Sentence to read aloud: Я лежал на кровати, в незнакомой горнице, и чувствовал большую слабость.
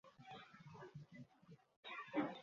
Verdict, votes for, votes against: rejected, 0, 2